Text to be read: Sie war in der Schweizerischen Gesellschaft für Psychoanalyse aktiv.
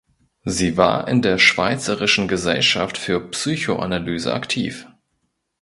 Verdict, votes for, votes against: accepted, 2, 0